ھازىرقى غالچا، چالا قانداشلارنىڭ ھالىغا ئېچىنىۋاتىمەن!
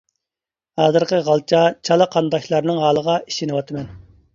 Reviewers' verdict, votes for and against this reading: accepted, 2, 1